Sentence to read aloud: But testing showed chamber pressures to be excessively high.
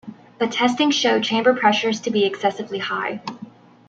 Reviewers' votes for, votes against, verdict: 1, 2, rejected